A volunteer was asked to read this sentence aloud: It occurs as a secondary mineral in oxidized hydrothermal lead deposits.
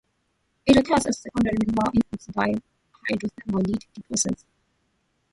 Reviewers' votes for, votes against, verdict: 0, 2, rejected